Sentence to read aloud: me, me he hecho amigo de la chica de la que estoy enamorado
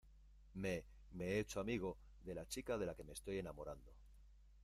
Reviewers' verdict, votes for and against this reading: rejected, 1, 2